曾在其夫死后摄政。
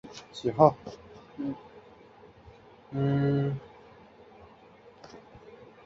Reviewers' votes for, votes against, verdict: 0, 3, rejected